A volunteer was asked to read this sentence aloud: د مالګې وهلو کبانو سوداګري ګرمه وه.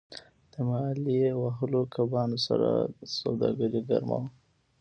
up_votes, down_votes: 1, 2